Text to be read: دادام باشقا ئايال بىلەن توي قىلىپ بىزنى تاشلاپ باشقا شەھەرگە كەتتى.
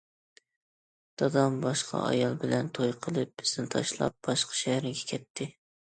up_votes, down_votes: 2, 0